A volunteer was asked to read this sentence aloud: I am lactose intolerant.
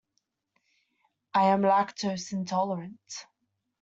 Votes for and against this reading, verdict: 2, 0, accepted